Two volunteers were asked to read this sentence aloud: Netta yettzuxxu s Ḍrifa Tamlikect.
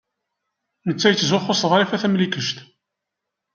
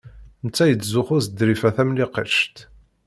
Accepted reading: first